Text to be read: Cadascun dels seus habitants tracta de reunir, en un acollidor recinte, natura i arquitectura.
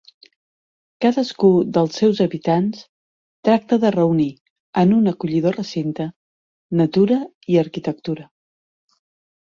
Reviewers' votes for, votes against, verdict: 2, 4, rejected